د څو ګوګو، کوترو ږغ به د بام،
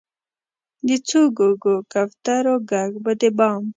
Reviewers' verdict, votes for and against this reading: rejected, 1, 2